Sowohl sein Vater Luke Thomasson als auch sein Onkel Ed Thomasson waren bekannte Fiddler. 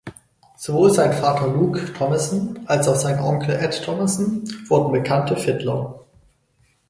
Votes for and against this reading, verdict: 2, 4, rejected